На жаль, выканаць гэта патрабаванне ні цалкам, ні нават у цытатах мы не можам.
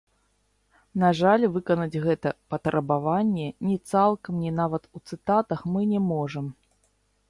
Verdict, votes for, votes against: rejected, 1, 2